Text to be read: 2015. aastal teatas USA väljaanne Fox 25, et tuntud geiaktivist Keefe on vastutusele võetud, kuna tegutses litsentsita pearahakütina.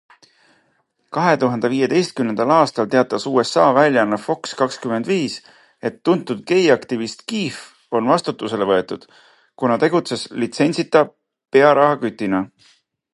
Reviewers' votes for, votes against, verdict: 0, 2, rejected